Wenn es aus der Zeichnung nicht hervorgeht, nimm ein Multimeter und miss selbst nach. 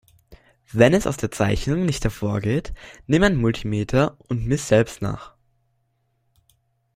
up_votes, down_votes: 2, 1